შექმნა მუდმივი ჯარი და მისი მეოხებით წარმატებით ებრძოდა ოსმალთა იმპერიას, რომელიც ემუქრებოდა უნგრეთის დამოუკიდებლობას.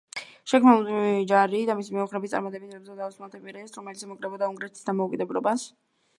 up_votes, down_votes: 1, 3